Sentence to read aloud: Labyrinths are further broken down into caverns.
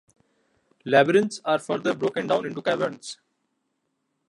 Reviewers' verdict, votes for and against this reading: rejected, 1, 2